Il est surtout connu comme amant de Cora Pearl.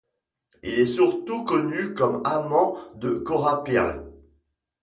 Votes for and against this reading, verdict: 1, 2, rejected